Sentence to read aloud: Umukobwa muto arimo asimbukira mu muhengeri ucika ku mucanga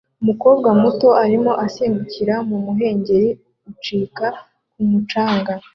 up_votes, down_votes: 2, 0